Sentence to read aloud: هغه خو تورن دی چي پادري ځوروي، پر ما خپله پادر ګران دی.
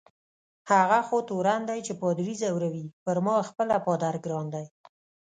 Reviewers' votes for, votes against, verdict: 2, 0, accepted